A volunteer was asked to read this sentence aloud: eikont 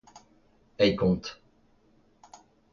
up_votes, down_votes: 2, 0